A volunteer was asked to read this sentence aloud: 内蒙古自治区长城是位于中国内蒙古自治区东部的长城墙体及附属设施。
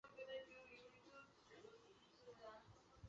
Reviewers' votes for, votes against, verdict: 0, 3, rejected